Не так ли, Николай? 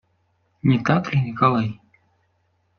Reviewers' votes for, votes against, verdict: 2, 0, accepted